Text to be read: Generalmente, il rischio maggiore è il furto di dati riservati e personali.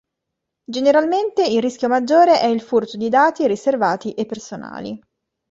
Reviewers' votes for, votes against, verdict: 2, 0, accepted